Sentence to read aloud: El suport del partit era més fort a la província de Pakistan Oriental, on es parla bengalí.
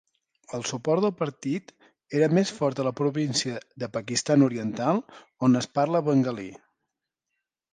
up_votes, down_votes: 4, 0